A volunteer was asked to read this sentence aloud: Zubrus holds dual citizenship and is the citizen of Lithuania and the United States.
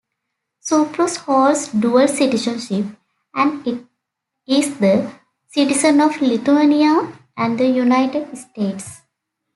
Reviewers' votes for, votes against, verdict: 2, 0, accepted